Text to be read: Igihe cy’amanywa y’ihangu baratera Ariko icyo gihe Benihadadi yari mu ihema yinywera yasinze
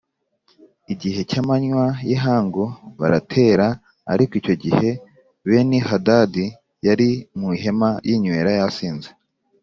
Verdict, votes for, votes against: accepted, 2, 0